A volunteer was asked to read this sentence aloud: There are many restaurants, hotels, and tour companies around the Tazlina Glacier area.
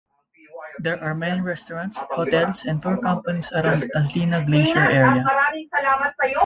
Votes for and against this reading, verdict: 0, 2, rejected